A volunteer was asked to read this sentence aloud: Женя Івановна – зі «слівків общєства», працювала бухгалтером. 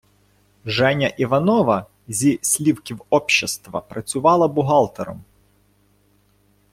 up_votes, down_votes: 1, 2